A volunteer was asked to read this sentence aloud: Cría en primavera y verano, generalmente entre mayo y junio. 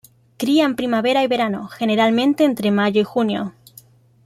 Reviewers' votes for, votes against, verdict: 2, 0, accepted